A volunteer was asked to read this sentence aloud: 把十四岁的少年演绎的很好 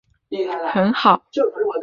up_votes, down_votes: 0, 2